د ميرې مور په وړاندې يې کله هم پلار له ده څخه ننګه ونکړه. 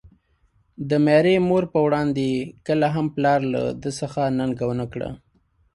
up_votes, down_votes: 3, 0